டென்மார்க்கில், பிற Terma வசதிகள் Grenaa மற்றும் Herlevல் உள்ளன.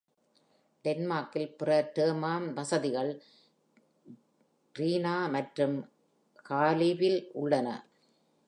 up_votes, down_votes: 2, 0